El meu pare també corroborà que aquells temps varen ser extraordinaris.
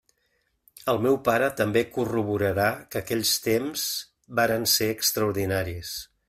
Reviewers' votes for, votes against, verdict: 1, 2, rejected